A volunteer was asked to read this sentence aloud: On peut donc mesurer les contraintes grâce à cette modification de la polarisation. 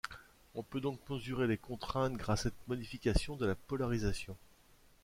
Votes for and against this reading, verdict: 1, 2, rejected